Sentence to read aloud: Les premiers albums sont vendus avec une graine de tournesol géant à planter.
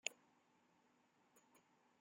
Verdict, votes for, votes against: rejected, 0, 2